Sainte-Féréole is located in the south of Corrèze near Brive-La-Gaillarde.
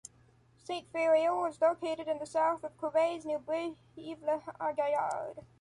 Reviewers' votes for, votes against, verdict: 2, 0, accepted